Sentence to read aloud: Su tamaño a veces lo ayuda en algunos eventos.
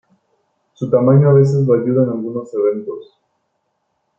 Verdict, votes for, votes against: accepted, 2, 1